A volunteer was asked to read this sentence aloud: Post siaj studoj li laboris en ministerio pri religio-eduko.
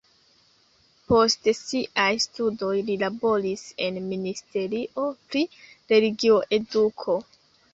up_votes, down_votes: 2, 0